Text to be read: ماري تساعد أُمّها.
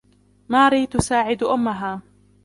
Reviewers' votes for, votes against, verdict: 0, 2, rejected